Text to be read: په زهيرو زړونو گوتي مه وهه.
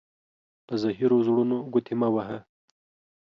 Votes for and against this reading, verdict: 4, 0, accepted